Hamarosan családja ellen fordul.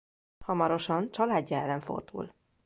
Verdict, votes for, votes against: accepted, 2, 0